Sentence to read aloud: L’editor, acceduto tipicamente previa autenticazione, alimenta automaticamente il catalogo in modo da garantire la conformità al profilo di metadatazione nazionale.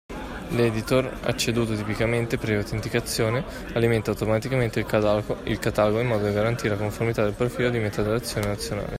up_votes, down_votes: 1, 2